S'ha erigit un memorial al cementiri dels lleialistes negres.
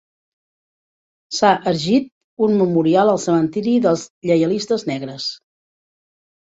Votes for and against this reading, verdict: 1, 3, rejected